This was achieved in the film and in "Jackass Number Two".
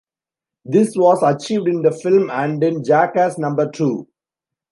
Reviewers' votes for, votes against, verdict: 2, 0, accepted